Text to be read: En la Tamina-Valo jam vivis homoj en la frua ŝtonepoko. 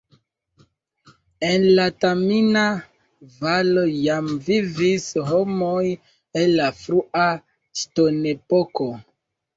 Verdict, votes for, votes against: rejected, 1, 2